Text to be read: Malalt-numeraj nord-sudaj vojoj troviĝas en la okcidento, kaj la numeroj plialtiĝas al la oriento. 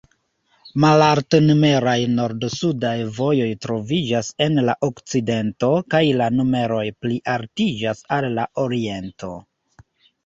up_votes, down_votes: 2, 1